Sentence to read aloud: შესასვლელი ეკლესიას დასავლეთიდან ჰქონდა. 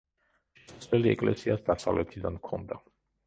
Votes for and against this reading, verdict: 0, 2, rejected